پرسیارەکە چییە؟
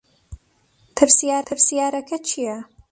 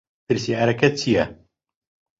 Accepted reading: second